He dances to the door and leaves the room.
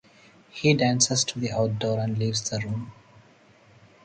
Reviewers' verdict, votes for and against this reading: rejected, 0, 2